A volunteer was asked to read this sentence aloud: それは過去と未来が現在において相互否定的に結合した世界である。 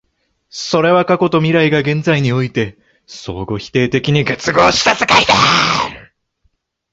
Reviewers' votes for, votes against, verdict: 1, 2, rejected